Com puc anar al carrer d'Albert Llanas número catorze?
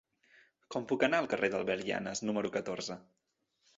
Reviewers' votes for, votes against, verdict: 2, 0, accepted